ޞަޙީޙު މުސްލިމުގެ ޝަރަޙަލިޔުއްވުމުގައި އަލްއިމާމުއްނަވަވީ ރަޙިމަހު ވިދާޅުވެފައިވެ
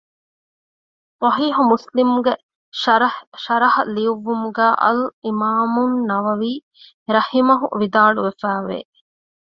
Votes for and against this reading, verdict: 1, 2, rejected